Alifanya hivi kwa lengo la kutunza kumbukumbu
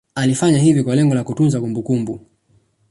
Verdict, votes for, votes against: rejected, 1, 2